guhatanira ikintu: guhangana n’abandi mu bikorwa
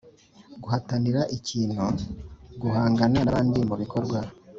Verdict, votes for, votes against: accepted, 2, 0